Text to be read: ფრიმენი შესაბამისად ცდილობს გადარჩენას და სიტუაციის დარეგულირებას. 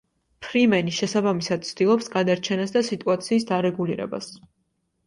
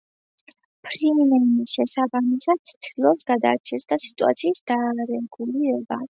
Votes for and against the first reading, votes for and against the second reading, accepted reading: 2, 0, 0, 2, first